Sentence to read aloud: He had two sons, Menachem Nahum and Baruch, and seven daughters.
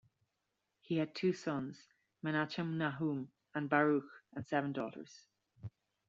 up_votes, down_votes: 2, 0